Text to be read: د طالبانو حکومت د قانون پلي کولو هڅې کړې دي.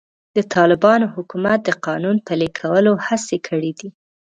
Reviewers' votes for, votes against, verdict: 3, 0, accepted